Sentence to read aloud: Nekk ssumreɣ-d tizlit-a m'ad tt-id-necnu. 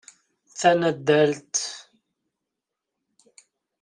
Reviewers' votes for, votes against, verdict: 0, 2, rejected